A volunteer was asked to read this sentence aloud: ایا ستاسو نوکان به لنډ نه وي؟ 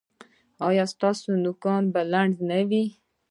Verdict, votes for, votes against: rejected, 1, 2